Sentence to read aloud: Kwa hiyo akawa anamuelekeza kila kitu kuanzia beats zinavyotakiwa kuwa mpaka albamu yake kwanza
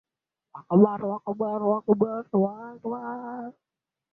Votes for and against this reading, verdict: 0, 17, rejected